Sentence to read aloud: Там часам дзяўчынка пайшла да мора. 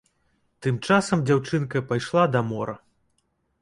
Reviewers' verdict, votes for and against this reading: accepted, 2, 0